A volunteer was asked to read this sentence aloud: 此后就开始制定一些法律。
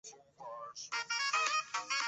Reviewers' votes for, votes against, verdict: 2, 3, rejected